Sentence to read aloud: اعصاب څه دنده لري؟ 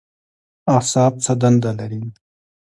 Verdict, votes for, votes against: accepted, 2, 0